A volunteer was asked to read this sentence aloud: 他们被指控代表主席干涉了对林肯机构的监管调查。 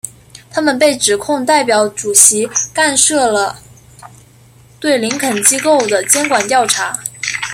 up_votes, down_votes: 1, 2